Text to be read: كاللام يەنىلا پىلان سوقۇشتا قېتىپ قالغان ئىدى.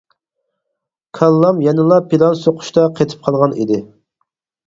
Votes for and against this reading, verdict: 4, 0, accepted